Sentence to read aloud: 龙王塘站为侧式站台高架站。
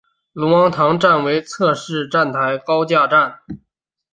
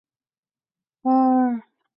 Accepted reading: first